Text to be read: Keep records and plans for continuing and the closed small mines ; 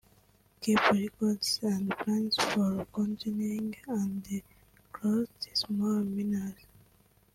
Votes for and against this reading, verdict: 0, 3, rejected